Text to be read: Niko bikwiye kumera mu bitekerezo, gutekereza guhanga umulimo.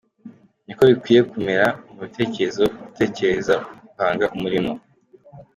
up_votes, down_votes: 2, 1